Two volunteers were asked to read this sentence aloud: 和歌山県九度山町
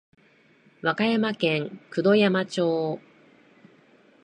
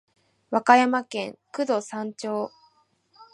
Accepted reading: first